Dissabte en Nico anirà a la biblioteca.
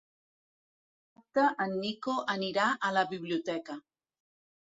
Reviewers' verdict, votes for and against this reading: rejected, 1, 3